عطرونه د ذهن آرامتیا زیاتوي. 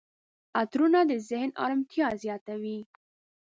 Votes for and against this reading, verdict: 2, 0, accepted